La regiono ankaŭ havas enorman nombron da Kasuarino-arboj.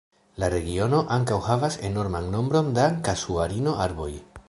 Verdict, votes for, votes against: accepted, 2, 1